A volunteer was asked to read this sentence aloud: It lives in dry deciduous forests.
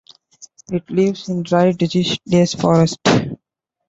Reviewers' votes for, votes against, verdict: 0, 2, rejected